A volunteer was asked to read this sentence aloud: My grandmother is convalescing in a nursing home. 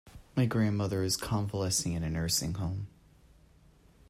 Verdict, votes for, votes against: accepted, 2, 0